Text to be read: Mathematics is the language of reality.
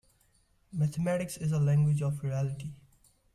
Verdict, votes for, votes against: accepted, 2, 0